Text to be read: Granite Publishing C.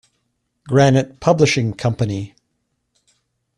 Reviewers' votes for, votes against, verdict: 1, 2, rejected